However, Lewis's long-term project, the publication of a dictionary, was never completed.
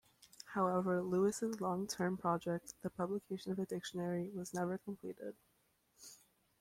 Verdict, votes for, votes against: accepted, 2, 0